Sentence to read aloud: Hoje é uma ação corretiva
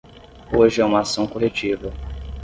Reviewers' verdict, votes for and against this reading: accepted, 10, 0